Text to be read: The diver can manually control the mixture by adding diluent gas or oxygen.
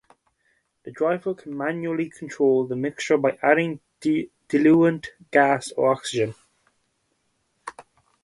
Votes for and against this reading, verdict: 0, 4, rejected